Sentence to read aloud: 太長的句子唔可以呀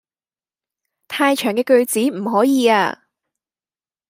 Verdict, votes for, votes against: rejected, 0, 2